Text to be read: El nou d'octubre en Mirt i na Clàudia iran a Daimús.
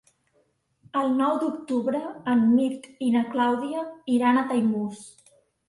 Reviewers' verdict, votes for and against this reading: accepted, 2, 0